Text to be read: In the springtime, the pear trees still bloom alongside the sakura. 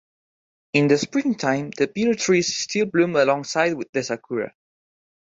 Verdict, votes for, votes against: rejected, 2, 3